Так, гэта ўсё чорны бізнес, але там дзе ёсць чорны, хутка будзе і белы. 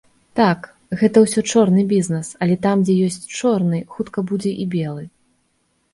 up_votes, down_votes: 2, 0